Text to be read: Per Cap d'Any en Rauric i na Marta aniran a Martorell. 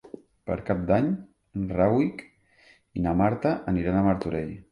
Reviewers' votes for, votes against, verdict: 0, 3, rejected